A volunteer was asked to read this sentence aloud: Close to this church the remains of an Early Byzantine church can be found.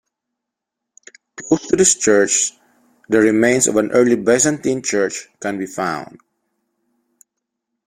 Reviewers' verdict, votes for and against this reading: accepted, 3, 0